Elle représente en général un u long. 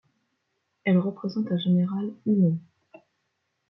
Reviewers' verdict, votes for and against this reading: rejected, 1, 2